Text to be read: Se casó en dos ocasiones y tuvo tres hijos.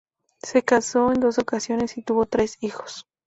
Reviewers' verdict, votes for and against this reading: accepted, 2, 0